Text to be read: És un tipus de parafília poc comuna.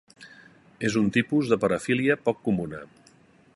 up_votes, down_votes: 3, 0